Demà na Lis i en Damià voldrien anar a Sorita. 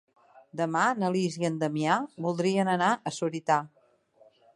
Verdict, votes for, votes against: accepted, 3, 1